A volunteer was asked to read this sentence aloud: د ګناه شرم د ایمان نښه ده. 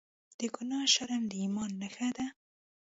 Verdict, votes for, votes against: rejected, 0, 2